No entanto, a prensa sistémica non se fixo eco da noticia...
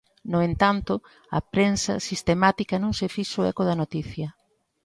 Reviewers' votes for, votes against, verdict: 0, 2, rejected